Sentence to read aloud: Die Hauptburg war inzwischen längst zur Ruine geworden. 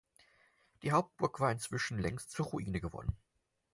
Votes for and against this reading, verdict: 4, 2, accepted